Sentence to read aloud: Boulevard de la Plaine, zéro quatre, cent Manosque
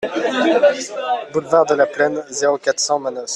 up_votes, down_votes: 0, 2